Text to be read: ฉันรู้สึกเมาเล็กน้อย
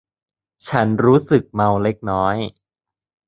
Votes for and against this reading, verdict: 2, 0, accepted